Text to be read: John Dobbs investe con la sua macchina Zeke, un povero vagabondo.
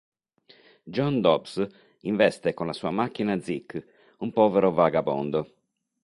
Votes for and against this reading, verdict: 2, 0, accepted